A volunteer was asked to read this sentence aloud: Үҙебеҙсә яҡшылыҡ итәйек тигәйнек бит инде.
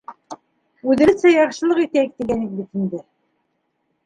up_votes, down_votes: 1, 2